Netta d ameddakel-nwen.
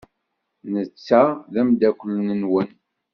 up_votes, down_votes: 0, 2